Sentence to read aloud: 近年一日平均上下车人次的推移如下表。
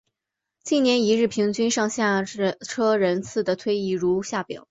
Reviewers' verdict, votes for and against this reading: accepted, 2, 1